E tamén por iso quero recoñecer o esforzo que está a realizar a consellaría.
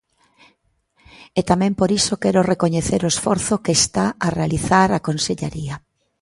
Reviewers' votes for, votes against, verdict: 2, 0, accepted